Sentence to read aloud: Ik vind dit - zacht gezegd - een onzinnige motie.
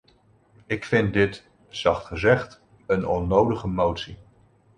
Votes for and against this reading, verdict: 1, 2, rejected